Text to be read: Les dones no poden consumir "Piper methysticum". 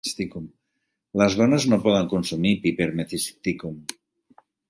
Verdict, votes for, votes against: rejected, 1, 2